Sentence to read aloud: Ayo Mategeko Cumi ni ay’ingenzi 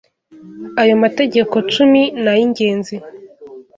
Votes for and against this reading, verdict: 2, 0, accepted